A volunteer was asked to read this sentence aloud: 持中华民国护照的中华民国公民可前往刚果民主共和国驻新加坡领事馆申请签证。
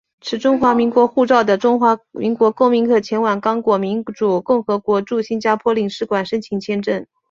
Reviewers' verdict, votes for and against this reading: accepted, 5, 1